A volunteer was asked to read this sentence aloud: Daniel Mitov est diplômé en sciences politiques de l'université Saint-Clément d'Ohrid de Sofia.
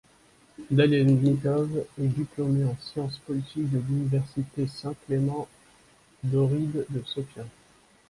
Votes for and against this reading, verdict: 1, 2, rejected